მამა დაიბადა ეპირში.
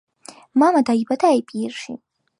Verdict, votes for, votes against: accepted, 2, 1